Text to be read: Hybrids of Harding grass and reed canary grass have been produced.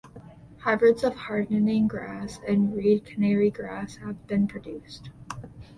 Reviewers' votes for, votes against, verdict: 0, 2, rejected